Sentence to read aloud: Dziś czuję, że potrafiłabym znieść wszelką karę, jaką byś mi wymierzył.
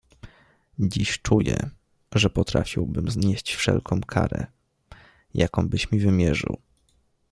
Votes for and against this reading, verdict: 1, 2, rejected